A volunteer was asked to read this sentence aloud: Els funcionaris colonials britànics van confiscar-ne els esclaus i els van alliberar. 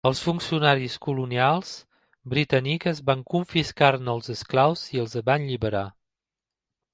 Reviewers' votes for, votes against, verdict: 0, 2, rejected